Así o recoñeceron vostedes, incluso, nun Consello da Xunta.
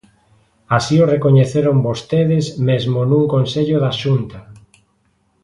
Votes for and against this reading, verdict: 1, 3, rejected